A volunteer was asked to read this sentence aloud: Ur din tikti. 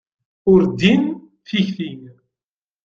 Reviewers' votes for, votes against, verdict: 2, 1, accepted